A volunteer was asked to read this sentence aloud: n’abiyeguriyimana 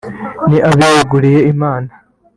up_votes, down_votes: 0, 3